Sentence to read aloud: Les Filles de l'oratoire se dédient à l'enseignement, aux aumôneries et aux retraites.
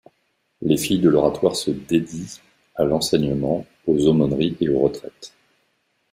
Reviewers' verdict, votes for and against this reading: accepted, 2, 0